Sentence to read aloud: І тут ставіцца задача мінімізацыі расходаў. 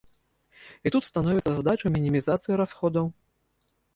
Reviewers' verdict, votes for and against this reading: rejected, 0, 2